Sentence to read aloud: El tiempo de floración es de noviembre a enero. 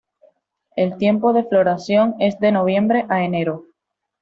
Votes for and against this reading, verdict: 2, 0, accepted